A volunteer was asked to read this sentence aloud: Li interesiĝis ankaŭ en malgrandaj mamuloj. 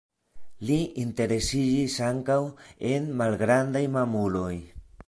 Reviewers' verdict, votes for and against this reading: accepted, 2, 0